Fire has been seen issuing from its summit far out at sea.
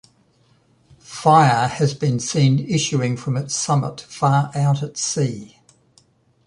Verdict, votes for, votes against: accepted, 2, 0